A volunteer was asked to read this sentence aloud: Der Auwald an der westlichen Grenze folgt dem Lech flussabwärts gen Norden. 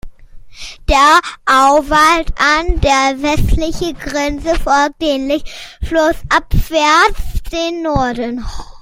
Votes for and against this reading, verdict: 0, 3, rejected